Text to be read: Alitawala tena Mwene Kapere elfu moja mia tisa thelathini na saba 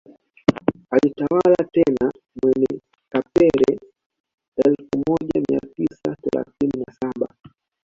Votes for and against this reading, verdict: 1, 2, rejected